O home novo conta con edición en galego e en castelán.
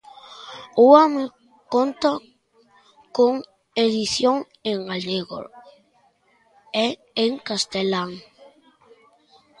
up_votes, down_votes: 0, 2